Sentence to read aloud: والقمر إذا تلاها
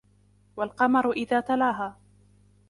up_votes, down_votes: 2, 0